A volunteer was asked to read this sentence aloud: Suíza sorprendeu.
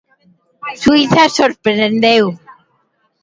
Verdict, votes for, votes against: rejected, 1, 2